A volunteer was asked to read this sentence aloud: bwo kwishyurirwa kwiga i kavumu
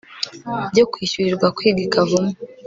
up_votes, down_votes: 2, 0